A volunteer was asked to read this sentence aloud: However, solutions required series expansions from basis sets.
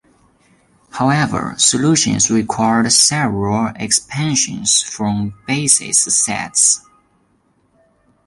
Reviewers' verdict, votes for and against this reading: rejected, 0, 2